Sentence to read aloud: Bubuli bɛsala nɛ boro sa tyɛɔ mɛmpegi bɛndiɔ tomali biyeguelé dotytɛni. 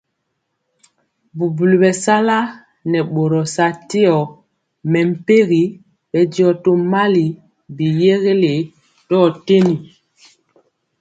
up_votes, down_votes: 2, 0